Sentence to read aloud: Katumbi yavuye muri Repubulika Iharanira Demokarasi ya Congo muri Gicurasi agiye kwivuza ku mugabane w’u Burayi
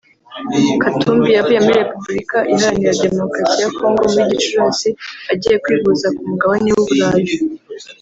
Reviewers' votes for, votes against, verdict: 1, 2, rejected